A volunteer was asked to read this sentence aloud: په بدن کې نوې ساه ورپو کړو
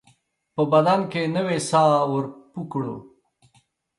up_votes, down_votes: 2, 0